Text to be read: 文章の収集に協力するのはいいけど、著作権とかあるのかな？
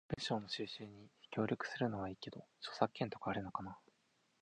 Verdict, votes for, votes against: accepted, 4, 0